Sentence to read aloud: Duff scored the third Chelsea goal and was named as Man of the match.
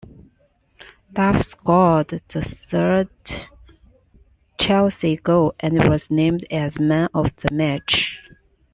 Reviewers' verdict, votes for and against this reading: accepted, 2, 0